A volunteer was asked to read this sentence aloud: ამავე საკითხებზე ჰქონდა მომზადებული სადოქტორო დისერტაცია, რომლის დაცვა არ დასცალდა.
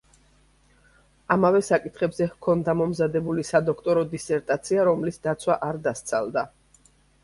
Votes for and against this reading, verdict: 2, 0, accepted